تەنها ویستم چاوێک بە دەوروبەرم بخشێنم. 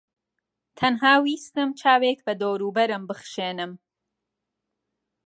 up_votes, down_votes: 3, 0